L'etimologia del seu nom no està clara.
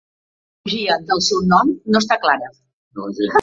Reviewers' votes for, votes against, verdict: 0, 2, rejected